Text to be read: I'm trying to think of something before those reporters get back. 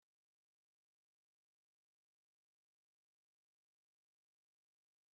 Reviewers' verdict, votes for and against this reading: rejected, 0, 2